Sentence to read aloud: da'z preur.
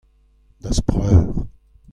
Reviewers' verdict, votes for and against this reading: accepted, 2, 1